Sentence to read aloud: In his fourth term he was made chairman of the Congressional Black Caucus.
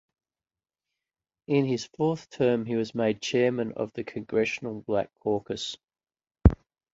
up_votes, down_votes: 2, 0